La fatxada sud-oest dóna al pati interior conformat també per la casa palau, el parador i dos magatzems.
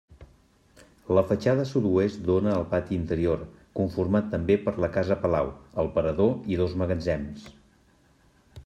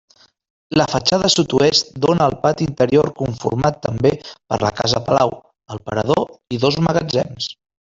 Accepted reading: first